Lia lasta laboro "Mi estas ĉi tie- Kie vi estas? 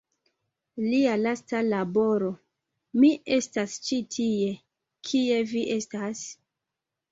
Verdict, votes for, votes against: accepted, 2, 0